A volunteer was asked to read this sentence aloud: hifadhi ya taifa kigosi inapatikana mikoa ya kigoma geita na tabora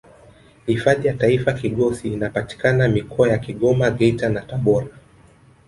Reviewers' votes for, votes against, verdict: 2, 0, accepted